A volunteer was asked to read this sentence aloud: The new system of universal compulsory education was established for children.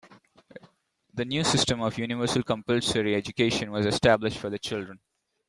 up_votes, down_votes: 0, 2